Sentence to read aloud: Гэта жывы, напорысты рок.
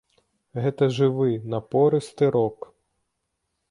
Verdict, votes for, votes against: accepted, 2, 0